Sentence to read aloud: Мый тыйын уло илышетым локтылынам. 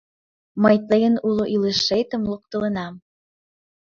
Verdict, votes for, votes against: accepted, 2, 0